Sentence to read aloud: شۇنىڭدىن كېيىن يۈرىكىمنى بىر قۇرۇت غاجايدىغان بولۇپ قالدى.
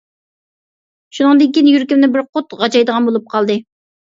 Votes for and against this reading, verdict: 1, 2, rejected